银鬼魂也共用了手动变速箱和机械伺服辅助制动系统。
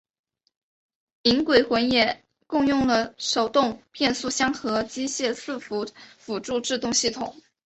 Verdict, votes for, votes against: accepted, 2, 0